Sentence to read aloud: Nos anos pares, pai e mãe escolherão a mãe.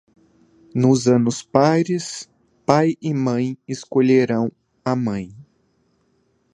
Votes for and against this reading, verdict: 2, 0, accepted